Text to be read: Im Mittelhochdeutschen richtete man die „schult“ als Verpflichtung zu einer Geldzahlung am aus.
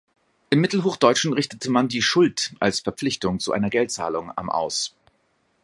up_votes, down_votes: 2, 1